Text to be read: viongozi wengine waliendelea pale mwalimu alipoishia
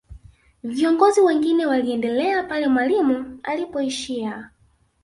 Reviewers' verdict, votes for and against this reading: accepted, 2, 0